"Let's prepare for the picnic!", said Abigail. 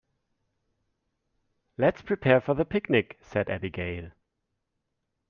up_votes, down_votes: 2, 0